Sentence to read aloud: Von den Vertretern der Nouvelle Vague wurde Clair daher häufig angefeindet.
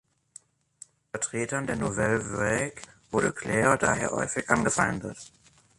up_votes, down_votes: 0, 2